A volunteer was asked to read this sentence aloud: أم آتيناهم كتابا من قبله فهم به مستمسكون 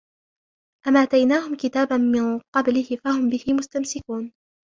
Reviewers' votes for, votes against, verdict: 1, 2, rejected